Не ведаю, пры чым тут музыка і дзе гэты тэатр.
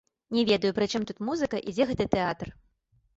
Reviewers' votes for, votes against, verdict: 2, 0, accepted